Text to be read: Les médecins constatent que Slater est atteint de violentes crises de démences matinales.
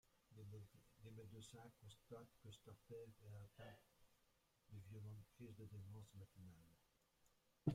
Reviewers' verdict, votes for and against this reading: rejected, 0, 2